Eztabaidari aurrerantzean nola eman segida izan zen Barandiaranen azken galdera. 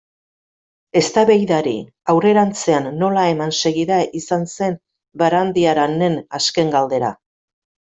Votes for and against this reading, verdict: 2, 0, accepted